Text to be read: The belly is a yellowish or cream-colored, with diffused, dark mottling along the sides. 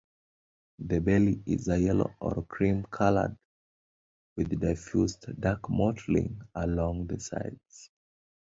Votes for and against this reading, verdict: 0, 2, rejected